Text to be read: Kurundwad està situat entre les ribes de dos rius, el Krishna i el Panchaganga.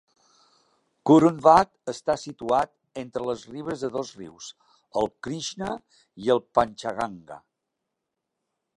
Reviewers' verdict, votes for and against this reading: accepted, 2, 0